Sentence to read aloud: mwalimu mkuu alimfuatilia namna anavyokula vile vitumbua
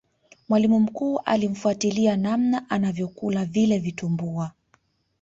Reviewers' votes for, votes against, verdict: 0, 2, rejected